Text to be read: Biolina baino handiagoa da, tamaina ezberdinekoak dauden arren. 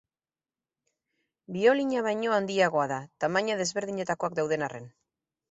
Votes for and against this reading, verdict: 2, 4, rejected